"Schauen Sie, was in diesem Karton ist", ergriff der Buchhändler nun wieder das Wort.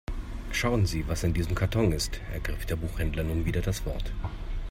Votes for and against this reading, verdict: 3, 0, accepted